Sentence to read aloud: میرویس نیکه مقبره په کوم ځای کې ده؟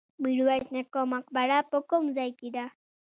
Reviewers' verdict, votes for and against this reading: accepted, 2, 0